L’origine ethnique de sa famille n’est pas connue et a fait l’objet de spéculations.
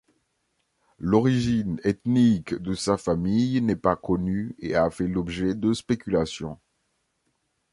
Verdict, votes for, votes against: accepted, 2, 0